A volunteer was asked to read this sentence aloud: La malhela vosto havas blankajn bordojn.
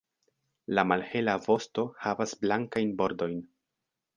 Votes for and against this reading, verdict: 1, 2, rejected